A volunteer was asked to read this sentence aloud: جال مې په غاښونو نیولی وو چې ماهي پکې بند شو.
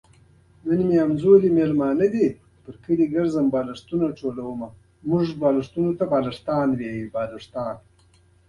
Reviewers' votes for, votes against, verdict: 1, 2, rejected